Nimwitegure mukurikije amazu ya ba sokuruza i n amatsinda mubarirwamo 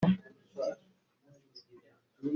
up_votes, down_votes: 1, 2